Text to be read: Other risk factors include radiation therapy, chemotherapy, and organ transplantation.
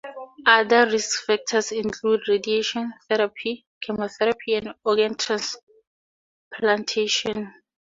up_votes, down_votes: 6, 0